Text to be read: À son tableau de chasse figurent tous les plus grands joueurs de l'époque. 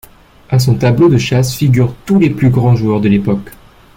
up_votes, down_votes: 2, 0